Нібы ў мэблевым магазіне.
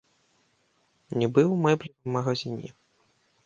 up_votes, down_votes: 1, 2